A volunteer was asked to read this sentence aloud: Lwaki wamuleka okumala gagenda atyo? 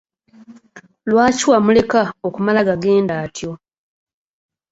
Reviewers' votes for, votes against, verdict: 2, 0, accepted